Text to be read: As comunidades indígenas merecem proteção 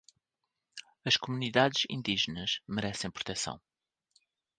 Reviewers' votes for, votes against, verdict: 2, 1, accepted